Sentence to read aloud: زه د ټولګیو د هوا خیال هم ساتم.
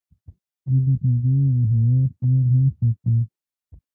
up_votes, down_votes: 0, 2